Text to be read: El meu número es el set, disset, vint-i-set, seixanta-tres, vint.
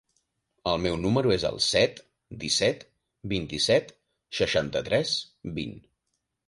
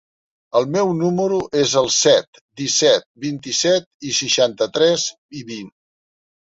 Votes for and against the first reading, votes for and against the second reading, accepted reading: 3, 0, 0, 2, first